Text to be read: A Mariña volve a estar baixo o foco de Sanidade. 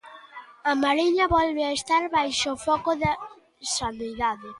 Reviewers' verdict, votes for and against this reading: rejected, 0, 2